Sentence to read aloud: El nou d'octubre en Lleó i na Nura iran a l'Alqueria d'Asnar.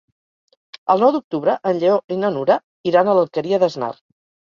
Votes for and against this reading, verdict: 2, 0, accepted